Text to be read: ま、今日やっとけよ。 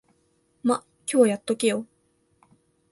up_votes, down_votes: 0, 2